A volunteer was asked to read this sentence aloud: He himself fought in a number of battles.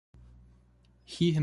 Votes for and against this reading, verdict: 0, 2, rejected